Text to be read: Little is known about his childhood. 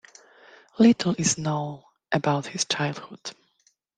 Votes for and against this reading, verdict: 2, 0, accepted